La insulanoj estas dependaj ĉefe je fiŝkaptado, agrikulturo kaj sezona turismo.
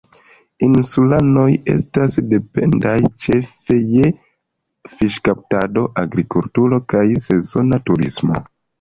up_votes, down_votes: 1, 2